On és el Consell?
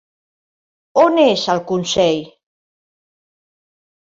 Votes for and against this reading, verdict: 4, 0, accepted